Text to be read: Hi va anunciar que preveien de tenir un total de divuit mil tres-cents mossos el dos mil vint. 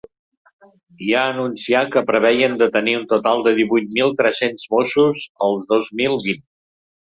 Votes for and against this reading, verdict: 1, 3, rejected